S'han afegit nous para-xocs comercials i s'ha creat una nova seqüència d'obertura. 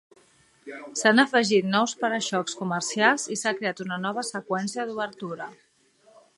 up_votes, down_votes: 1, 2